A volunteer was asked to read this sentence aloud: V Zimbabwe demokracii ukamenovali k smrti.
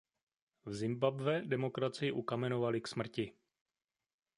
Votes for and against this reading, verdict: 2, 0, accepted